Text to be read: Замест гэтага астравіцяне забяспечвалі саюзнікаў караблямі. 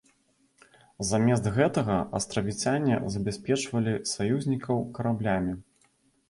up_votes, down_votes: 2, 0